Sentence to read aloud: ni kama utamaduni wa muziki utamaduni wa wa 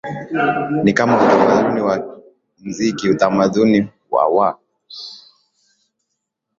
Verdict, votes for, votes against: accepted, 7, 5